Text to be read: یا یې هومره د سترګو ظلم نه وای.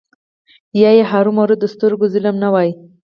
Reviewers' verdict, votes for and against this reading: accepted, 4, 0